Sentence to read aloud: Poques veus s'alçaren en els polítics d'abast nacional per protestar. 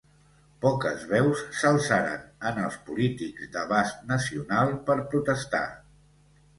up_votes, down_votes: 2, 0